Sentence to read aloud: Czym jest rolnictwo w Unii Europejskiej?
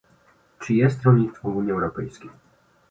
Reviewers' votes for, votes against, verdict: 2, 0, accepted